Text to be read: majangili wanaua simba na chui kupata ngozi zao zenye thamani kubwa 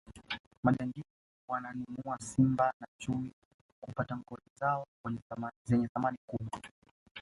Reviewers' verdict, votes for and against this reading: rejected, 1, 2